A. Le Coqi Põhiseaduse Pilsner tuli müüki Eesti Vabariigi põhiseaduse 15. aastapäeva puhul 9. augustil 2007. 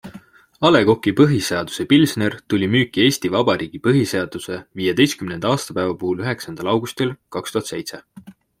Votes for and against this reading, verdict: 0, 2, rejected